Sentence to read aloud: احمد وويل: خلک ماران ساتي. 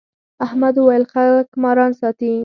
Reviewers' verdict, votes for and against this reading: rejected, 2, 4